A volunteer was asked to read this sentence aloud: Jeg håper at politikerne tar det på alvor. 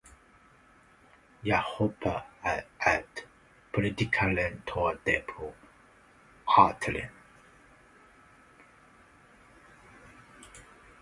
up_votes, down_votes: 0, 2